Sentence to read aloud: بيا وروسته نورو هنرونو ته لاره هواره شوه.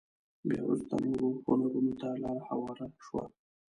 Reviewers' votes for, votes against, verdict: 1, 2, rejected